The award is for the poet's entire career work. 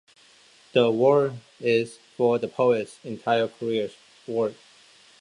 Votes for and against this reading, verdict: 1, 2, rejected